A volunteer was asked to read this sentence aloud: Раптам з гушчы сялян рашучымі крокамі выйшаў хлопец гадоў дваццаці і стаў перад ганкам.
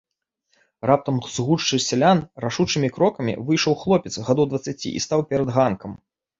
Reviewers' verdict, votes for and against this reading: accepted, 2, 0